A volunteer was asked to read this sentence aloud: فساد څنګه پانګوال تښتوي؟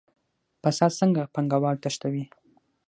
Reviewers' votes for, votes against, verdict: 6, 0, accepted